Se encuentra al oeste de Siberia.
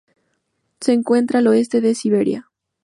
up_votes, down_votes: 2, 0